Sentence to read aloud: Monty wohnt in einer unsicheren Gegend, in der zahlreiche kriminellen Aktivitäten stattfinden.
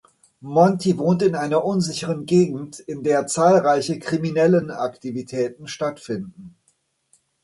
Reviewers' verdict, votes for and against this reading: accepted, 2, 0